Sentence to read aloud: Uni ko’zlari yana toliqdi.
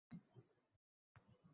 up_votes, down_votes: 0, 2